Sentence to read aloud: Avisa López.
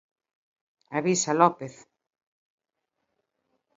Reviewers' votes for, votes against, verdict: 2, 1, accepted